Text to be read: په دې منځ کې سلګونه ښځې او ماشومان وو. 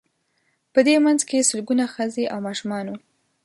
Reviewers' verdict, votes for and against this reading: accepted, 2, 0